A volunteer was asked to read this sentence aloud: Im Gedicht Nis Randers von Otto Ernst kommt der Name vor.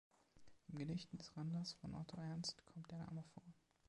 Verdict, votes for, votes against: rejected, 0, 2